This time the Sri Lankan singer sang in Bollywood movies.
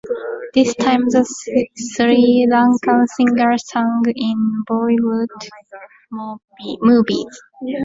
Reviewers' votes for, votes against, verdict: 1, 2, rejected